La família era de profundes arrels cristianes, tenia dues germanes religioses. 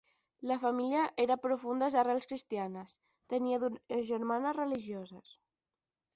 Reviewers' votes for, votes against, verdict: 0, 10, rejected